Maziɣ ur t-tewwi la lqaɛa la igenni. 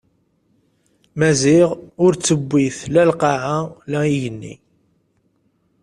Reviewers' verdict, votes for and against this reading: rejected, 1, 2